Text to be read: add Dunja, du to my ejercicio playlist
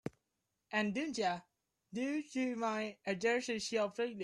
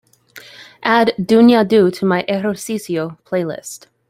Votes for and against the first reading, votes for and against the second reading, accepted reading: 2, 5, 2, 0, second